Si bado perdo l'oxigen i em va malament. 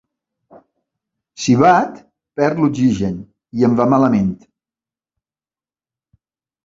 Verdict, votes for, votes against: rejected, 1, 2